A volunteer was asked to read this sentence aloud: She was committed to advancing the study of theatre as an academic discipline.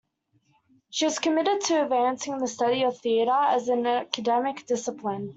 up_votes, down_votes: 2, 0